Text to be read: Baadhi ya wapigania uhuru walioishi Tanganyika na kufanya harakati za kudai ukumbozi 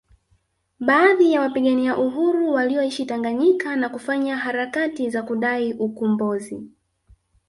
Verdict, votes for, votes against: rejected, 1, 2